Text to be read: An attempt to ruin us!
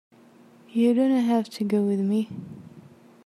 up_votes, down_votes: 0, 2